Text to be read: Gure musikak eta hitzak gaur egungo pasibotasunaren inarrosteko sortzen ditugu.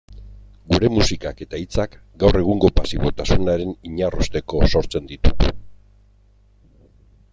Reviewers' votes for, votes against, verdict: 2, 1, accepted